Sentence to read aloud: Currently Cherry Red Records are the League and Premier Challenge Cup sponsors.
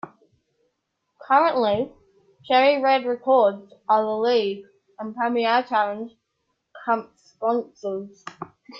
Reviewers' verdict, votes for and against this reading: rejected, 0, 2